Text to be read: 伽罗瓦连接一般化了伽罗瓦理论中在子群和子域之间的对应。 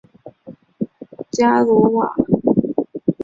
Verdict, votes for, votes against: rejected, 0, 2